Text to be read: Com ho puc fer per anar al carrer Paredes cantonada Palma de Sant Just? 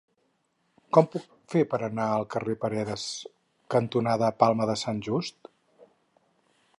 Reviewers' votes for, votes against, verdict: 2, 6, rejected